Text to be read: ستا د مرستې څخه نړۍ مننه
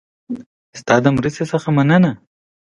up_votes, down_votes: 1, 2